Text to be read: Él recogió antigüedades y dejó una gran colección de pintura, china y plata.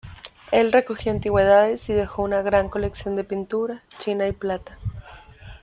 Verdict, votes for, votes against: accepted, 2, 0